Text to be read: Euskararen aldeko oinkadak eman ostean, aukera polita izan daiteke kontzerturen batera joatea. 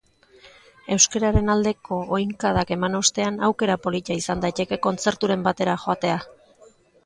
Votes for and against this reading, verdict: 1, 2, rejected